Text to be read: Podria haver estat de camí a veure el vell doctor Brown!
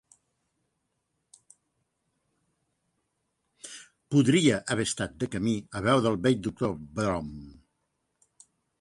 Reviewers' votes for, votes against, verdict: 2, 0, accepted